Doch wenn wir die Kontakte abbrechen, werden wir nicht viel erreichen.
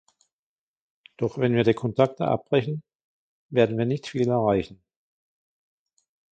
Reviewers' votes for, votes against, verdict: 2, 1, accepted